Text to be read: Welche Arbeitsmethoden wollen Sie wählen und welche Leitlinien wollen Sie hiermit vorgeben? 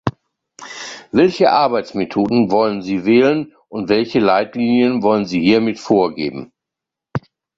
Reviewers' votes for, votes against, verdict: 2, 0, accepted